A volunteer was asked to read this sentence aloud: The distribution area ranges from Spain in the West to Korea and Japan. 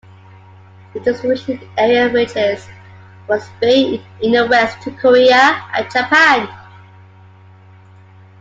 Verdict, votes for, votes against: accepted, 2, 1